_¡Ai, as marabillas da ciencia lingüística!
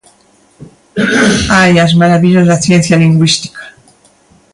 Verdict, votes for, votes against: rejected, 1, 2